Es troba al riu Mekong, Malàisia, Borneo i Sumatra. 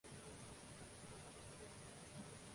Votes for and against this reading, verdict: 0, 2, rejected